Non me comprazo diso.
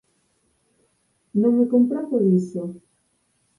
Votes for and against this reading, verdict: 2, 4, rejected